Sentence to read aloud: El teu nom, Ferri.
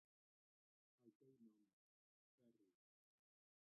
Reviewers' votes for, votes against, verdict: 0, 2, rejected